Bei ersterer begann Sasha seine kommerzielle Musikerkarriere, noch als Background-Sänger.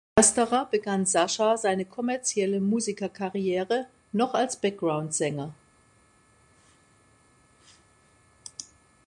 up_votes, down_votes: 0, 2